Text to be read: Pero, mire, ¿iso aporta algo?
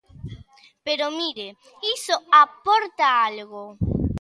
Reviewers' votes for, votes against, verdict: 2, 0, accepted